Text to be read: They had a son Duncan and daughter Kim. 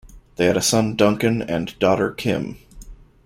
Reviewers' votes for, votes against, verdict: 2, 0, accepted